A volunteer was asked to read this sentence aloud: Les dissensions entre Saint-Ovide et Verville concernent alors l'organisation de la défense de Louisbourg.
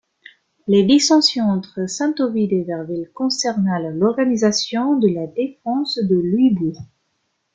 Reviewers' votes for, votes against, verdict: 0, 3, rejected